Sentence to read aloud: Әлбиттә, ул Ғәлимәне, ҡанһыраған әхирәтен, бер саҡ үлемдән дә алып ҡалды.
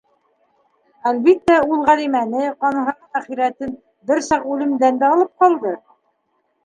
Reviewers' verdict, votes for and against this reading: rejected, 1, 2